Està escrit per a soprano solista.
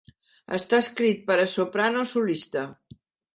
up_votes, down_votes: 3, 1